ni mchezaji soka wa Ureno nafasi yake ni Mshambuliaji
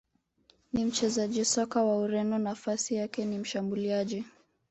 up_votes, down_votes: 2, 0